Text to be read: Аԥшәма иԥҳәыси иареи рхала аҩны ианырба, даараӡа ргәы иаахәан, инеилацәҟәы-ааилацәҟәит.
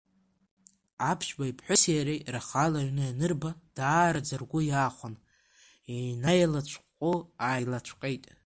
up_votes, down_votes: 1, 2